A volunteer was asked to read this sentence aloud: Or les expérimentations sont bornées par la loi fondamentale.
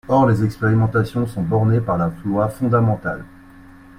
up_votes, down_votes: 0, 2